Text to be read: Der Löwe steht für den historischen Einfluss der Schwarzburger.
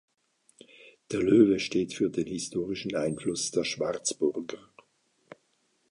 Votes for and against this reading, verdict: 2, 0, accepted